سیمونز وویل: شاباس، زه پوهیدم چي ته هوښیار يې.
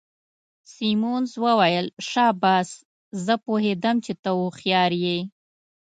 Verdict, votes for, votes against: accepted, 2, 0